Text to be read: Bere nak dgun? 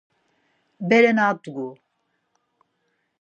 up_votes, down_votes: 0, 4